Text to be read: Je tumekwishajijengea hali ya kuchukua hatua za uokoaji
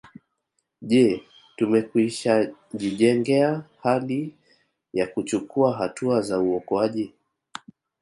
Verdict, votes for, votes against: accepted, 2, 0